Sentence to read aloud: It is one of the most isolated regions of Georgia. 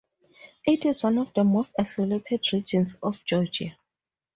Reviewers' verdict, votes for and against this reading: accepted, 2, 0